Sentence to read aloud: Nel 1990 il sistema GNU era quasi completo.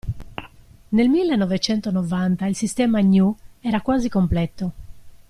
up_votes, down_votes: 0, 2